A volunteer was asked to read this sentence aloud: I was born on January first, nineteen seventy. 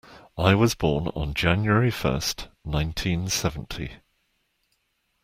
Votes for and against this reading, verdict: 2, 0, accepted